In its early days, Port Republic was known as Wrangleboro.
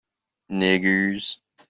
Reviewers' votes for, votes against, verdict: 0, 2, rejected